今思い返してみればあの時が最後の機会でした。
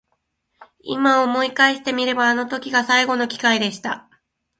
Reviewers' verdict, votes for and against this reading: accepted, 2, 0